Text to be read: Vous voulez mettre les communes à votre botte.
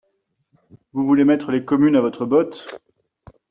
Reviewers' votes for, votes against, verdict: 2, 0, accepted